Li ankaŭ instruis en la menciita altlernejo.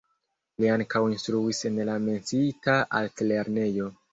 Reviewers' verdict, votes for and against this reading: rejected, 1, 2